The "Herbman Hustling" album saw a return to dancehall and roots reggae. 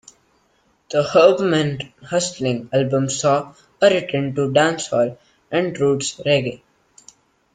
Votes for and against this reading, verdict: 2, 1, accepted